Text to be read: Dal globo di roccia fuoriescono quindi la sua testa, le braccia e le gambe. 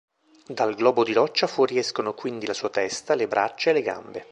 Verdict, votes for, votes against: accepted, 2, 0